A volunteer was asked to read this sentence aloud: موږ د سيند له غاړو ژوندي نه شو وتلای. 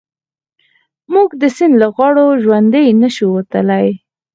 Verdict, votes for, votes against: accepted, 4, 0